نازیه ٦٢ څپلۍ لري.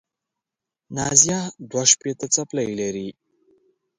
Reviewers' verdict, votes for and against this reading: rejected, 0, 2